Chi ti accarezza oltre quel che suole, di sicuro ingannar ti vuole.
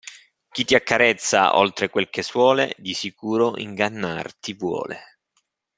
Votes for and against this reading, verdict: 2, 0, accepted